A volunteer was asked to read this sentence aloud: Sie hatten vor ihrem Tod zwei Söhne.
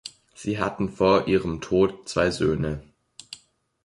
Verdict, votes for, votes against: accepted, 2, 0